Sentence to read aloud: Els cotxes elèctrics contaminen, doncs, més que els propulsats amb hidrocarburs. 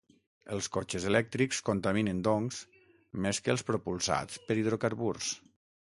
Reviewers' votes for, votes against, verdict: 3, 6, rejected